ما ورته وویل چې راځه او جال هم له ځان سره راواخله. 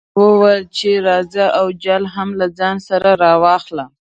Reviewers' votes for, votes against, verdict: 1, 2, rejected